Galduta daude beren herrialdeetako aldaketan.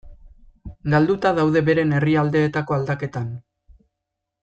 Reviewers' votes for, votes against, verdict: 2, 0, accepted